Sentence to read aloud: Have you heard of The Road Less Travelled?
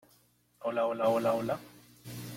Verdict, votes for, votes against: rejected, 0, 2